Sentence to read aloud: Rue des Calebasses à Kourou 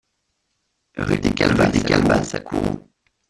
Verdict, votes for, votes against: rejected, 0, 2